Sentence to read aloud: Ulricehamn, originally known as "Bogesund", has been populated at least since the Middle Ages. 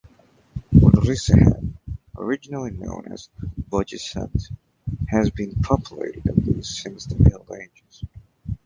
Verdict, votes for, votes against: rejected, 1, 2